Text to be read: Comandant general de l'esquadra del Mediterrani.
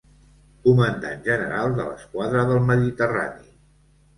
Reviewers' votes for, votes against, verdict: 2, 0, accepted